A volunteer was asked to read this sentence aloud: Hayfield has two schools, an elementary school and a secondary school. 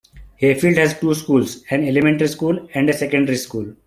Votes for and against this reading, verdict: 2, 1, accepted